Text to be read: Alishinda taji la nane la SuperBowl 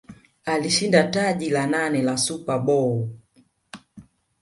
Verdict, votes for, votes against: rejected, 1, 2